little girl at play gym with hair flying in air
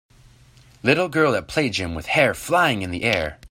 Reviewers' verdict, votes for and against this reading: rejected, 0, 2